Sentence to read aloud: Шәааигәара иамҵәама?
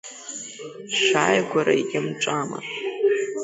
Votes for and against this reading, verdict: 2, 0, accepted